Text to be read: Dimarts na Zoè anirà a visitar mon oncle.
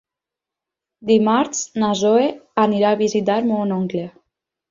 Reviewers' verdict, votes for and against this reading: accepted, 6, 2